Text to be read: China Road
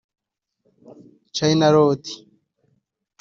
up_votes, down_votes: 2, 0